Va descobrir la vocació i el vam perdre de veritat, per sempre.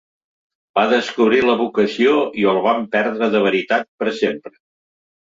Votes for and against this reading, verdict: 2, 0, accepted